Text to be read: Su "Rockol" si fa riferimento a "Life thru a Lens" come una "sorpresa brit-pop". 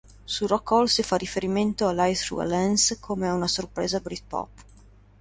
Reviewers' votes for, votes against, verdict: 2, 0, accepted